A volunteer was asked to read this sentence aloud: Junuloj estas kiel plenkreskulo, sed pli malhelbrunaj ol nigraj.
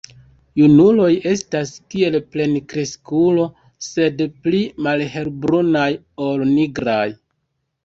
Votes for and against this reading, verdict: 1, 2, rejected